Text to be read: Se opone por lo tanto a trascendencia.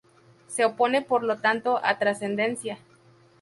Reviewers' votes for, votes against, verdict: 0, 2, rejected